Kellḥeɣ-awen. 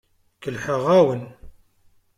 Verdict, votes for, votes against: accepted, 2, 0